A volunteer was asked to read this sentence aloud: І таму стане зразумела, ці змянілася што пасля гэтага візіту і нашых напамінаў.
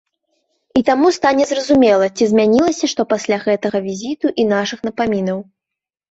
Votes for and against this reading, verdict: 2, 0, accepted